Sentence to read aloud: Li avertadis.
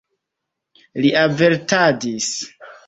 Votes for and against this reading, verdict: 2, 0, accepted